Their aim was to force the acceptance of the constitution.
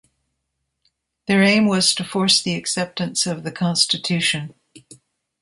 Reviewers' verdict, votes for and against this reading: accepted, 2, 0